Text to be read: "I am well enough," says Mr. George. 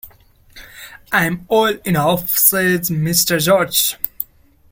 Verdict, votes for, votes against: rejected, 0, 2